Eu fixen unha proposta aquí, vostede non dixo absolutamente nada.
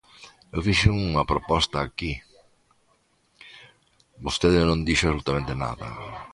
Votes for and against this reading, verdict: 1, 2, rejected